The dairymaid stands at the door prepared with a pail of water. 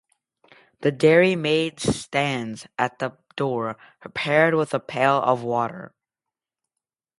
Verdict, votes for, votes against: accepted, 2, 0